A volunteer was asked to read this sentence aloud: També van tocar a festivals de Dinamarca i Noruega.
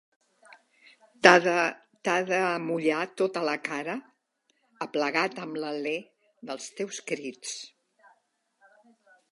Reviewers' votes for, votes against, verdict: 0, 2, rejected